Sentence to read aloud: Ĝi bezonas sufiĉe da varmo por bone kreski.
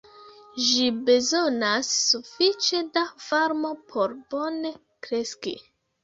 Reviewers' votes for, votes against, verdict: 1, 2, rejected